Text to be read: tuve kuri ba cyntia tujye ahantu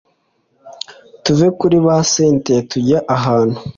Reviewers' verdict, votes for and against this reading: accepted, 2, 0